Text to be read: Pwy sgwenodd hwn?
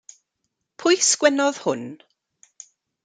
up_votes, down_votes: 2, 0